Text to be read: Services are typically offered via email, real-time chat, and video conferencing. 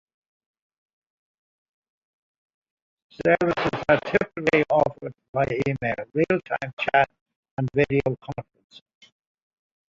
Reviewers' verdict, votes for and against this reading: rejected, 0, 2